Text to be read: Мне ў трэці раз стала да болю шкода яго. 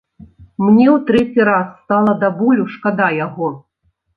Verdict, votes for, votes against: rejected, 0, 2